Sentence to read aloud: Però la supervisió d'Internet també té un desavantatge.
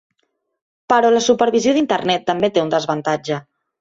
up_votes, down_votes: 1, 2